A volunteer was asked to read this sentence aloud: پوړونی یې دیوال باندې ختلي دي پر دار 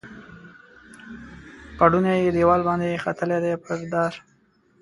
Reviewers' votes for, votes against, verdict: 2, 0, accepted